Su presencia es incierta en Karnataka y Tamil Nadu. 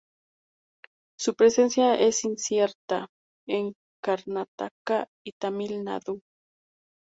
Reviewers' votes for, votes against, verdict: 2, 0, accepted